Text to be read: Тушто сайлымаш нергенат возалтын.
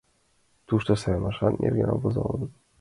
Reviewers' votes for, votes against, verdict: 2, 4, rejected